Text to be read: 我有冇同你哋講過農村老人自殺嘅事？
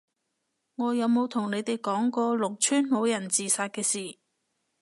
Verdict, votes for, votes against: accepted, 2, 0